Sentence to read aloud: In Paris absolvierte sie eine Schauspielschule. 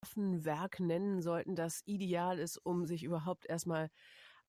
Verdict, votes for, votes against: rejected, 0, 2